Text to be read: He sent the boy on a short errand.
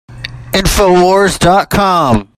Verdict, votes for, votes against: rejected, 0, 2